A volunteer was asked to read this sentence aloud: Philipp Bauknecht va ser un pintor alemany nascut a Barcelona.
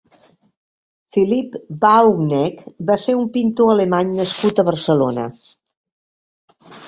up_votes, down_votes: 2, 0